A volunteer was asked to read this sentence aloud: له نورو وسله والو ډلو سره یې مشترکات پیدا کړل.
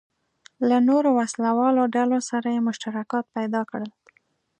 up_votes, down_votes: 2, 0